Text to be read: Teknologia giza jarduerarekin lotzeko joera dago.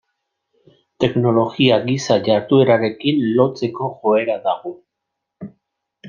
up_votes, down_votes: 1, 2